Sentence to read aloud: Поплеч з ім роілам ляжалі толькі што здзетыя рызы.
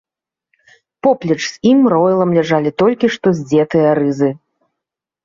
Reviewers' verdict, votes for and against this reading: accepted, 2, 0